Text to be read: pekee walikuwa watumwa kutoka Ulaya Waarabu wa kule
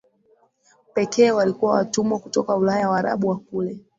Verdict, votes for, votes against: accepted, 3, 0